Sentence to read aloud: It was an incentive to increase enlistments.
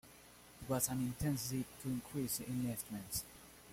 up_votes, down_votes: 0, 2